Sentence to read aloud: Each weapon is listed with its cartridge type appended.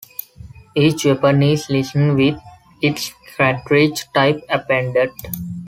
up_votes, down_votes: 0, 2